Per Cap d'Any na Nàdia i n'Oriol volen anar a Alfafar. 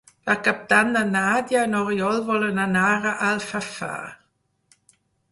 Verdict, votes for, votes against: accepted, 6, 0